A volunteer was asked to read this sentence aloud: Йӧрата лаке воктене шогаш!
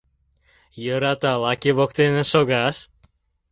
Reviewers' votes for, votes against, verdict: 2, 0, accepted